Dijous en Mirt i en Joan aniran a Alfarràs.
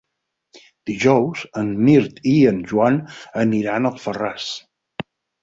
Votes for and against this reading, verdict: 6, 0, accepted